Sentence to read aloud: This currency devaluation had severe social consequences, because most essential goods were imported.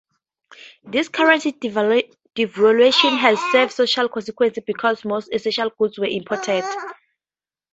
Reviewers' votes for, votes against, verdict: 0, 4, rejected